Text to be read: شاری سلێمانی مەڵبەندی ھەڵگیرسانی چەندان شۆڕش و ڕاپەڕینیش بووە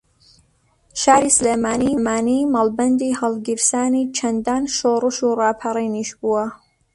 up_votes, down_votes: 0, 2